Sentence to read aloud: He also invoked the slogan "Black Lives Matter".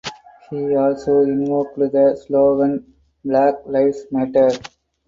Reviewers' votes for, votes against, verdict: 4, 0, accepted